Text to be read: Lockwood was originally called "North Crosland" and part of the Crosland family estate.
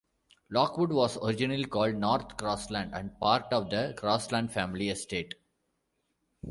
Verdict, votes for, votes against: accepted, 2, 1